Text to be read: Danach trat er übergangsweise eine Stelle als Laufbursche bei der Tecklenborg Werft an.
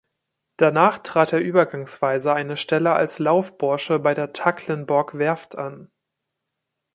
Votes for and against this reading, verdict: 1, 2, rejected